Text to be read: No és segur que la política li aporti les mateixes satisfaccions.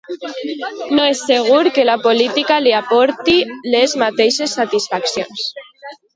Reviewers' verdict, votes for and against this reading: rejected, 1, 2